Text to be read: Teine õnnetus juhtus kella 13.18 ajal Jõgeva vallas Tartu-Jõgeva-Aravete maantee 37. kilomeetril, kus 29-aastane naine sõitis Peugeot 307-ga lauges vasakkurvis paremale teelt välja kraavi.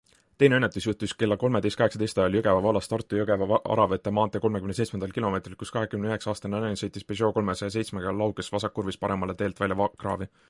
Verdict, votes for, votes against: rejected, 0, 2